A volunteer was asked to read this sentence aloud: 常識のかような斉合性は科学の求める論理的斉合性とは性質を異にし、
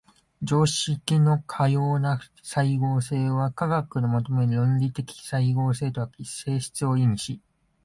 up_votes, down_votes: 2, 0